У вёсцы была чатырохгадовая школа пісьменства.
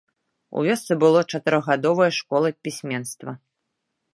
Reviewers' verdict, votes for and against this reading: rejected, 1, 2